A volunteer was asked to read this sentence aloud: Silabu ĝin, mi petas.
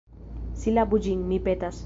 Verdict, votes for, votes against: accepted, 2, 0